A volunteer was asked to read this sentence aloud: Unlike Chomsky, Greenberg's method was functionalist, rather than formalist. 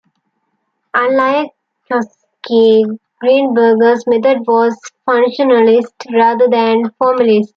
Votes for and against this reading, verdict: 0, 2, rejected